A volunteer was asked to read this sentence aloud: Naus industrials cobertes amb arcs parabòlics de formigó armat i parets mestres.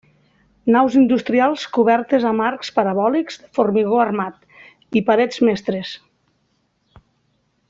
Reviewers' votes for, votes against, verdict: 1, 2, rejected